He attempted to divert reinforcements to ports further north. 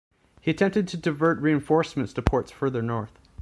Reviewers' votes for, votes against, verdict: 2, 0, accepted